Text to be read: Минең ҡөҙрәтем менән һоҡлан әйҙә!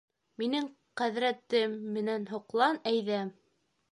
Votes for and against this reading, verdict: 0, 2, rejected